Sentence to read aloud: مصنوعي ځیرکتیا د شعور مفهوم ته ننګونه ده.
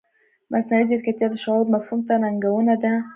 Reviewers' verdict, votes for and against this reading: rejected, 1, 2